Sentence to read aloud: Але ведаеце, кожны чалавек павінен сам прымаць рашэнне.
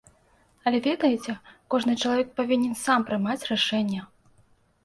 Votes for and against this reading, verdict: 2, 0, accepted